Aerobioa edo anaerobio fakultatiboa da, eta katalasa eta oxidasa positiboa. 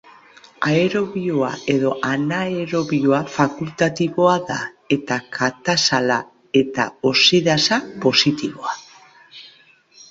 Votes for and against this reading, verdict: 0, 3, rejected